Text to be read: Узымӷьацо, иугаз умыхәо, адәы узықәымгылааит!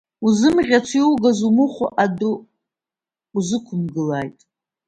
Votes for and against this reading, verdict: 1, 2, rejected